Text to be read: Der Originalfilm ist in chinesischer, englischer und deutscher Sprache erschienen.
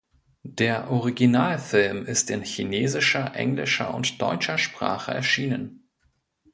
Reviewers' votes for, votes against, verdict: 2, 0, accepted